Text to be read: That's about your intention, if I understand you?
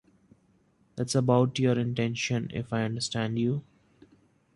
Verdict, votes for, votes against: accepted, 2, 0